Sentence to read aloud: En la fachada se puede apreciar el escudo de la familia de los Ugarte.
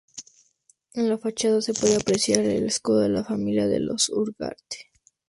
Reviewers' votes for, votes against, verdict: 0, 2, rejected